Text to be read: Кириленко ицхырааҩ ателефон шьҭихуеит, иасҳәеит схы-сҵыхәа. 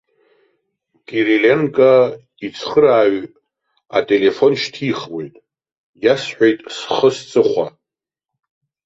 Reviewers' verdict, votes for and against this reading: rejected, 1, 2